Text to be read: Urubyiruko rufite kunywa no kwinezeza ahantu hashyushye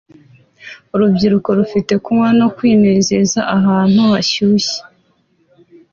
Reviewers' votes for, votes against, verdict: 2, 0, accepted